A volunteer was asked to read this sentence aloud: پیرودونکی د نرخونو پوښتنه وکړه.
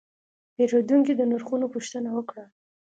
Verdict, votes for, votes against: accepted, 2, 0